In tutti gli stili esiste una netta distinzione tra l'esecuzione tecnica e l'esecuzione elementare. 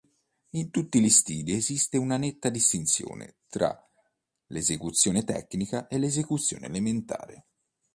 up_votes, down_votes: 2, 0